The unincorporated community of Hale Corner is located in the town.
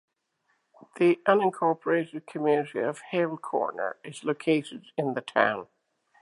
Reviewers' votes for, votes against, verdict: 2, 0, accepted